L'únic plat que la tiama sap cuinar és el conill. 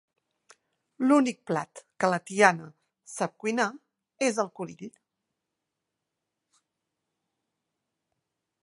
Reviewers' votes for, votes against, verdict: 2, 0, accepted